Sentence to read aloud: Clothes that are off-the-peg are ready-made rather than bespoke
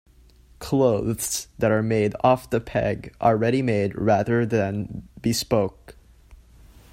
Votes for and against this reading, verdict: 1, 2, rejected